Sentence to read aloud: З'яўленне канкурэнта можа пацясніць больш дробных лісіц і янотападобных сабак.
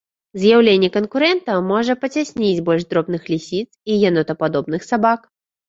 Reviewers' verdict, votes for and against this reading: accepted, 2, 0